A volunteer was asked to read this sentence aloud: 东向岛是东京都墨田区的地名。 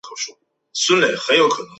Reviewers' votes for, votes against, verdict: 0, 3, rejected